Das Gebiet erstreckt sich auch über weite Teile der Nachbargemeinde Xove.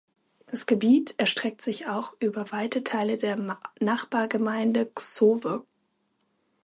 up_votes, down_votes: 0, 2